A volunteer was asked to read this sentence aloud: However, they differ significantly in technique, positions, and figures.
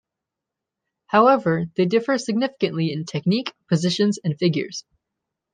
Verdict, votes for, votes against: accepted, 2, 0